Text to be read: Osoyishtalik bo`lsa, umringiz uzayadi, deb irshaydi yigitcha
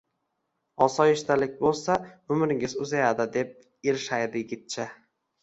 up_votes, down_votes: 1, 2